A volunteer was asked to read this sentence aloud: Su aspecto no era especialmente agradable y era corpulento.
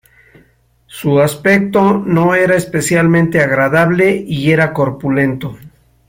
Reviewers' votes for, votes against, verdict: 3, 0, accepted